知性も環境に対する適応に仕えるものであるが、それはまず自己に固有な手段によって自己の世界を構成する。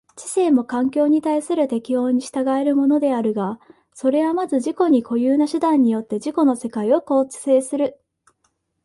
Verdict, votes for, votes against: rejected, 1, 2